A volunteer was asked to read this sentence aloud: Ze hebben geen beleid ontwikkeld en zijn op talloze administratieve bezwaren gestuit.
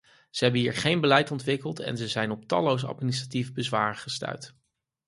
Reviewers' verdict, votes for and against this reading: rejected, 0, 4